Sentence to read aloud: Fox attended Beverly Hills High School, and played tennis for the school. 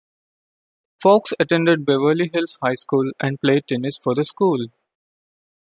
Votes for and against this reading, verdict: 2, 0, accepted